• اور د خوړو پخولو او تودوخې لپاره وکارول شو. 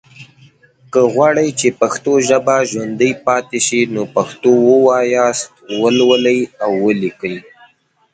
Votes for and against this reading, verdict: 0, 2, rejected